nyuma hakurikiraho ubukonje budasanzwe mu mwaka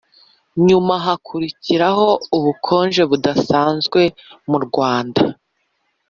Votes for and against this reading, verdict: 0, 2, rejected